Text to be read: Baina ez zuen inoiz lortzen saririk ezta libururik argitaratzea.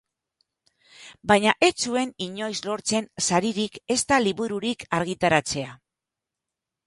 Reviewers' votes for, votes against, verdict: 2, 0, accepted